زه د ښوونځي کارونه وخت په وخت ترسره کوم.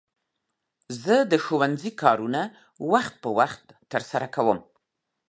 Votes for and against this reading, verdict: 3, 0, accepted